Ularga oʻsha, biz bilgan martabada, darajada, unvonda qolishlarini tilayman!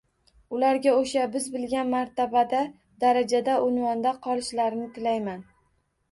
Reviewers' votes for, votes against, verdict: 2, 0, accepted